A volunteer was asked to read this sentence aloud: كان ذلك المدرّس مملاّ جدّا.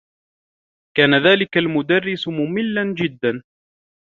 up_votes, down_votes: 2, 0